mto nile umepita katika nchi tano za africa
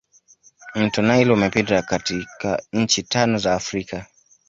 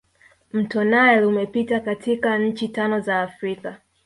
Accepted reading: first